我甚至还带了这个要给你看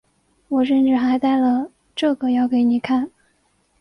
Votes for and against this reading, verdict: 2, 0, accepted